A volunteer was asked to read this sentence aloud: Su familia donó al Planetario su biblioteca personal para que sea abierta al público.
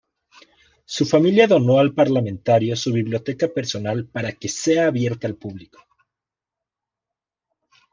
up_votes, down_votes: 1, 2